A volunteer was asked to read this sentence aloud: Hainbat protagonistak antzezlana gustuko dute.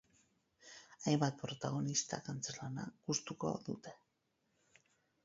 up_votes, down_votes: 4, 0